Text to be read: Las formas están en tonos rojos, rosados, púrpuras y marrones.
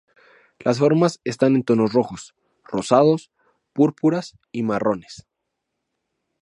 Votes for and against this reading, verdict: 2, 0, accepted